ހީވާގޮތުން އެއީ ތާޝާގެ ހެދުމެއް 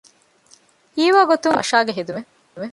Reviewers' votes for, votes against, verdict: 0, 2, rejected